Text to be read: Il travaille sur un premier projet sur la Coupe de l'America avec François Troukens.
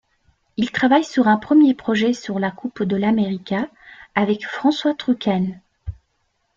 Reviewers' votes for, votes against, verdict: 2, 0, accepted